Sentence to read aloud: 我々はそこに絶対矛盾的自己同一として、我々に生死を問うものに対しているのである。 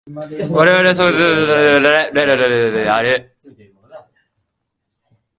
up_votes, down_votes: 0, 2